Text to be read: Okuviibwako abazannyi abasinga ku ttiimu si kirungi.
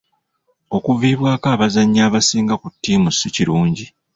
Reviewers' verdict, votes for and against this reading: accepted, 2, 0